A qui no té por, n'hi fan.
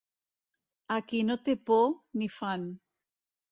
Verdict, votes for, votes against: accepted, 2, 0